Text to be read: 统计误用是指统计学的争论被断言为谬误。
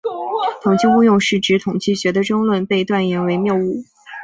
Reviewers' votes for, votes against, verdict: 3, 0, accepted